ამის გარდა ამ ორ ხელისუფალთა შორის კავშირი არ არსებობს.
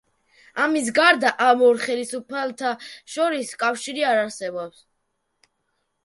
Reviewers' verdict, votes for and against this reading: rejected, 1, 2